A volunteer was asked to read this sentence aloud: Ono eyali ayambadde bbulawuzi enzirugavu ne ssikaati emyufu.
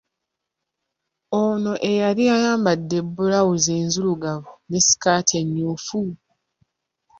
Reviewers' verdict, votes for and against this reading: accepted, 2, 1